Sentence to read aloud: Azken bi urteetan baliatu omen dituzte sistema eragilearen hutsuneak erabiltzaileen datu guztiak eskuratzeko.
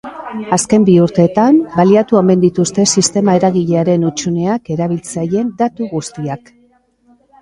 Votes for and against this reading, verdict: 1, 4, rejected